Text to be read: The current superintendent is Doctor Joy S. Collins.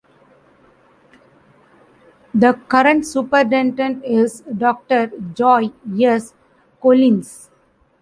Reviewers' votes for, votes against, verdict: 0, 2, rejected